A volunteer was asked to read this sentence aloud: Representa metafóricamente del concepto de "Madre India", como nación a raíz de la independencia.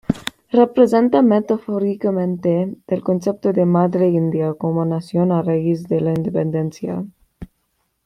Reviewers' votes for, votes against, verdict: 2, 0, accepted